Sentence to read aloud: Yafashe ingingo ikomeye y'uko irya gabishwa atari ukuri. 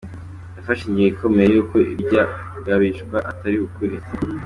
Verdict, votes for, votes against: accepted, 2, 0